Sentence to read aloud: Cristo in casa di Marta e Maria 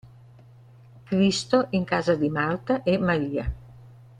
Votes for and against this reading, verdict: 2, 0, accepted